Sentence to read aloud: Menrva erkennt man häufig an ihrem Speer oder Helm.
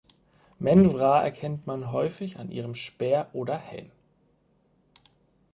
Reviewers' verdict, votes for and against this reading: rejected, 2, 4